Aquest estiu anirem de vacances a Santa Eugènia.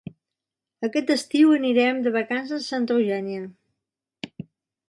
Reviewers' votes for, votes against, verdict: 2, 0, accepted